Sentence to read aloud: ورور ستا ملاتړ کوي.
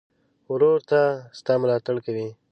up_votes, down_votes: 0, 2